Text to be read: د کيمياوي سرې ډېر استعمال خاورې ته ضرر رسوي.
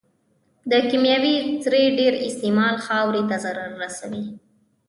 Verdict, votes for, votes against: accepted, 2, 0